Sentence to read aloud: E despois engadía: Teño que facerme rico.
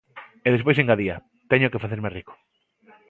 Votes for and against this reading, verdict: 2, 0, accepted